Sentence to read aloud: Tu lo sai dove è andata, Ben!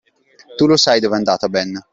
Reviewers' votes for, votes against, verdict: 2, 0, accepted